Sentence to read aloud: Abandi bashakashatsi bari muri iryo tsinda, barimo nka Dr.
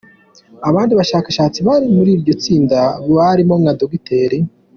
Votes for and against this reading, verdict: 2, 1, accepted